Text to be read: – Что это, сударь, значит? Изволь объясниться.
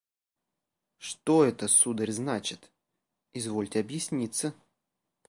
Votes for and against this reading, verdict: 0, 2, rejected